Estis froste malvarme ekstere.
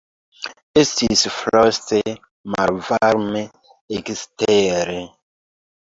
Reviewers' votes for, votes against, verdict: 2, 1, accepted